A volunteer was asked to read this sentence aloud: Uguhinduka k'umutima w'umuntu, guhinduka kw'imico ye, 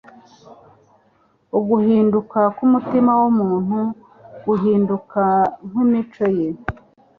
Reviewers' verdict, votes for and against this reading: accepted, 2, 0